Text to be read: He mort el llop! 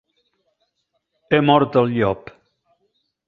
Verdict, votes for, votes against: accepted, 2, 0